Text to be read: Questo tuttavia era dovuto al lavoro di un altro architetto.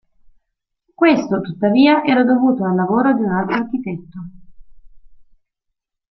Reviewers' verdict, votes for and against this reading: accepted, 2, 0